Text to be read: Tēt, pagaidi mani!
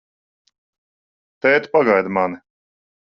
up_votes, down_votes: 2, 0